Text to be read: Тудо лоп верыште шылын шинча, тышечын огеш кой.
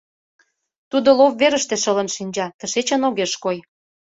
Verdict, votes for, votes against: accepted, 2, 0